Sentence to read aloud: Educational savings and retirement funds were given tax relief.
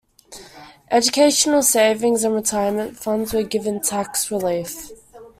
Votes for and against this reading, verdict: 2, 0, accepted